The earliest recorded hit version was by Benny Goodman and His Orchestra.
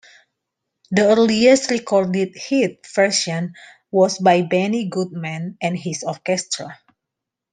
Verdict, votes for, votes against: rejected, 1, 2